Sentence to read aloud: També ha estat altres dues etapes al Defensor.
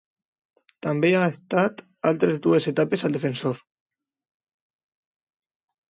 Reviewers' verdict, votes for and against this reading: accepted, 2, 0